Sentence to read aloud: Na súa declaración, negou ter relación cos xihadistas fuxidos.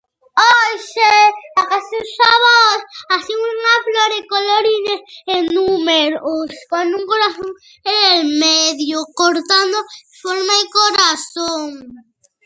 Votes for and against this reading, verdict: 0, 2, rejected